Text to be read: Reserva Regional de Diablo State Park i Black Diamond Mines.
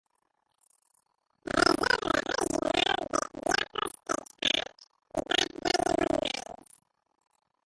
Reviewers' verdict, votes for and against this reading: rejected, 0, 2